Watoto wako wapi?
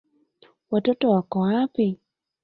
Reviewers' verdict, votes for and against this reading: accepted, 2, 1